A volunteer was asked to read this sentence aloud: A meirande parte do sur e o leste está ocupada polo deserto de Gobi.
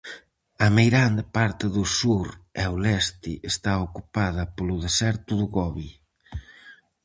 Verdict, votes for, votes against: rejected, 0, 4